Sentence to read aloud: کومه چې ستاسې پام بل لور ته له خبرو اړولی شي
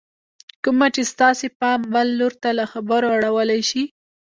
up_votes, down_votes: 1, 2